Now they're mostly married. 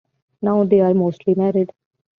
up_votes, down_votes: 2, 1